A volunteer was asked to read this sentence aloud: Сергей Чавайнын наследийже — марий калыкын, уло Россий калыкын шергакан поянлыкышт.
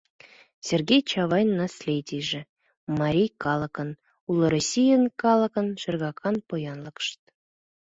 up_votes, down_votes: 1, 2